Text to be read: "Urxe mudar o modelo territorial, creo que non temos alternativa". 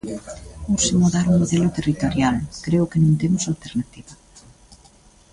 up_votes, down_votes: 2, 1